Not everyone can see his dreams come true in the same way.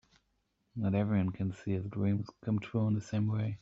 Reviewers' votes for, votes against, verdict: 4, 0, accepted